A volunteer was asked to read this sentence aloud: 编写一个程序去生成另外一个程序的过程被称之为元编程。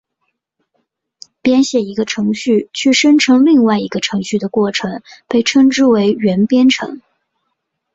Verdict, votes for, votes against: accepted, 2, 0